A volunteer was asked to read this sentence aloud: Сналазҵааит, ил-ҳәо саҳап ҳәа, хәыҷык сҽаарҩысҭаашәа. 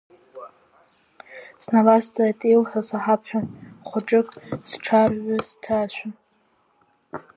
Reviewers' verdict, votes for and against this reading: rejected, 1, 2